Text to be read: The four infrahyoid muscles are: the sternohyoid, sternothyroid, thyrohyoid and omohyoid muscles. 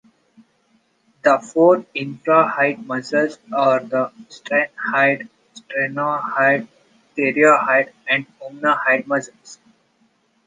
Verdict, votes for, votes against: rejected, 0, 3